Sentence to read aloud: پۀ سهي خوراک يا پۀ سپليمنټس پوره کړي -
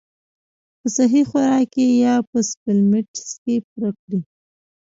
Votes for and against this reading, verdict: 0, 2, rejected